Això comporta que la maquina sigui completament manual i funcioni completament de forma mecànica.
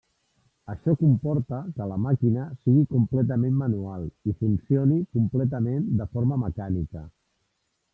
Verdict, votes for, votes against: rejected, 1, 2